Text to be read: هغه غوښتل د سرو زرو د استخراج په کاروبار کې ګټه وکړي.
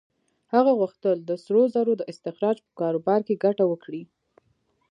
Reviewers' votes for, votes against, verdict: 2, 1, accepted